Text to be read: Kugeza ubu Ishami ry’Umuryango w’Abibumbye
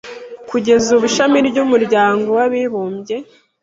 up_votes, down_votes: 2, 0